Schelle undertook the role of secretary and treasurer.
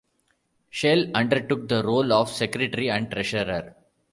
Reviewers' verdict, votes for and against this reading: rejected, 0, 2